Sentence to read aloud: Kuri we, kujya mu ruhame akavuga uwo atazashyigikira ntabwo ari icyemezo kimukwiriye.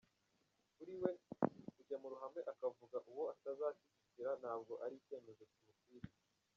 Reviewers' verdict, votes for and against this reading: rejected, 1, 2